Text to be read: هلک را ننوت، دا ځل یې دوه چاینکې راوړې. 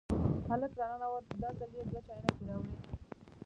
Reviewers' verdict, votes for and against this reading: rejected, 1, 2